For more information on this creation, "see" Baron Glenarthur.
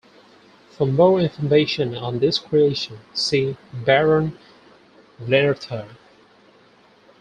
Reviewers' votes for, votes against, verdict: 2, 4, rejected